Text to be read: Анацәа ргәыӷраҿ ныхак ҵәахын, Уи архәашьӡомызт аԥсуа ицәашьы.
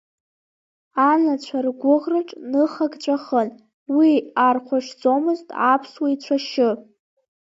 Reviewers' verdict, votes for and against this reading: accepted, 2, 0